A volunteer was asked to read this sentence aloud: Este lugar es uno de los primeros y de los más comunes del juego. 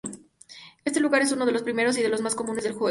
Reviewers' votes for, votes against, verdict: 0, 2, rejected